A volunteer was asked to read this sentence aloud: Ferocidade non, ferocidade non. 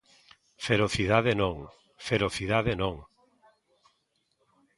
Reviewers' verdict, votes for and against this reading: accepted, 2, 0